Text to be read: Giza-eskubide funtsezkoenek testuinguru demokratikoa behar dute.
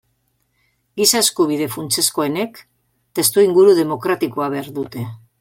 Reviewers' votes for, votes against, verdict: 2, 0, accepted